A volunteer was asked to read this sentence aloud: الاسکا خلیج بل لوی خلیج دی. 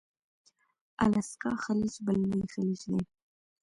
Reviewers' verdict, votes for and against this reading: accepted, 2, 0